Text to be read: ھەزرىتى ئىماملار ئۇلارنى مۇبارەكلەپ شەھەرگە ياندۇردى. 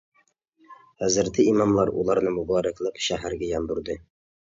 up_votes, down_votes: 2, 0